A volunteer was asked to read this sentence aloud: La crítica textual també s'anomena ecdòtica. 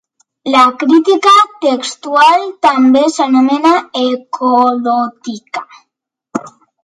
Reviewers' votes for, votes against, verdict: 0, 3, rejected